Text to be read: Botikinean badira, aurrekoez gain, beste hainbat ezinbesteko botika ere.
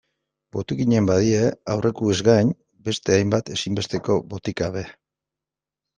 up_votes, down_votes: 0, 2